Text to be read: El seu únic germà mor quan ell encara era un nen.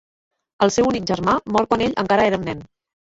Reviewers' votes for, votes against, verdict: 0, 2, rejected